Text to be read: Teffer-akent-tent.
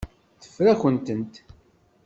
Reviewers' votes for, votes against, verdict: 2, 0, accepted